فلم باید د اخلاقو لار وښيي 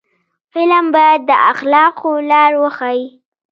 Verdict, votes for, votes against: accepted, 2, 0